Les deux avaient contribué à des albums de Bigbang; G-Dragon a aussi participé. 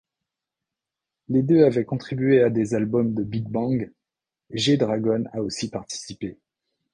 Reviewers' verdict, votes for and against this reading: rejected, 1, 2